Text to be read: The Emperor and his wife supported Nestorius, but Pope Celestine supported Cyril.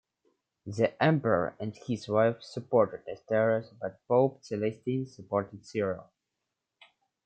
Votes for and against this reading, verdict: 2, 0, accepted